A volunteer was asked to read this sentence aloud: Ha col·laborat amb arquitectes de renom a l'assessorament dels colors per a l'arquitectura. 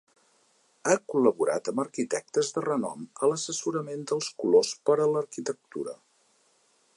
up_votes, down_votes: 2, 0